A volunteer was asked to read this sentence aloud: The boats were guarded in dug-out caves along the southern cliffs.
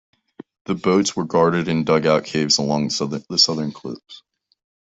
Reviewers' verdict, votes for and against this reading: rejected, 0, 2